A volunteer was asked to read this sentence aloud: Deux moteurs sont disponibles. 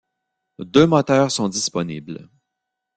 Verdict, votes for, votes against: accepted, 2, 0